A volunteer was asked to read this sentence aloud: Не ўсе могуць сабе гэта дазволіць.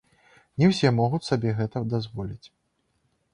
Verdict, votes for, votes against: rejected, 0, 2